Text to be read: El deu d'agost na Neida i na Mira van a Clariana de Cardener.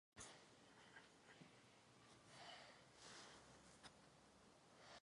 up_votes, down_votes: 1, 2